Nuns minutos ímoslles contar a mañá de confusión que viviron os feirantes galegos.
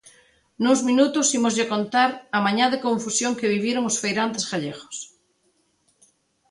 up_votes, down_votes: 0, 2